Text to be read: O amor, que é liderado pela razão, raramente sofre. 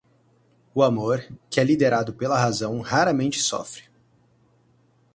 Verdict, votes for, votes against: accepted, 4, 0